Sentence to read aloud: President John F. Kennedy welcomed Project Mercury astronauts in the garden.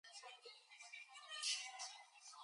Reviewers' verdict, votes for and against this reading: rejected, 0, 4